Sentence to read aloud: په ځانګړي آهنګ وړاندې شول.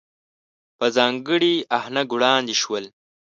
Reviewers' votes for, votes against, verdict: 1, 2, rejected